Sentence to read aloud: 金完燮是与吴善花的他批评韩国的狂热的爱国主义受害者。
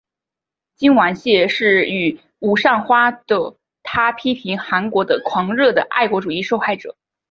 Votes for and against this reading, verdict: 3, 1, accepted